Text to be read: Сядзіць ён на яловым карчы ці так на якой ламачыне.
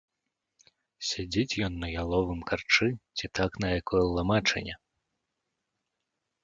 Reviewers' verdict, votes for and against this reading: accepted, 2, 0